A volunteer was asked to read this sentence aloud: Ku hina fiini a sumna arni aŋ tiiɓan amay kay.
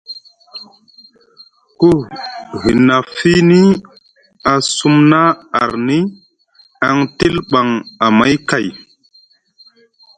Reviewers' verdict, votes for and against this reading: rejected, 0, 2